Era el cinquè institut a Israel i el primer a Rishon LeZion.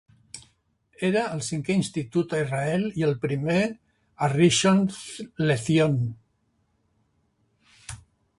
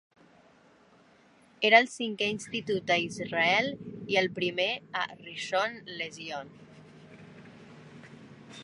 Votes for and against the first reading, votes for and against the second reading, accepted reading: 0, 2, 2, 0, second